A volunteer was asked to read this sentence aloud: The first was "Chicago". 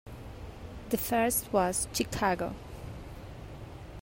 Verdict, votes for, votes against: accepted, 3, 1